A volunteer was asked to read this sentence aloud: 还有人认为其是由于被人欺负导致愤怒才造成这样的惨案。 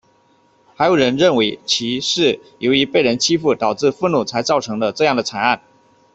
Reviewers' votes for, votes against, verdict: 1, 2, rejected